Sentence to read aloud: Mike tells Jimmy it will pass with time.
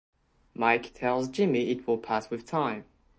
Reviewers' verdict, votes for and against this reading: accepted, 2, 0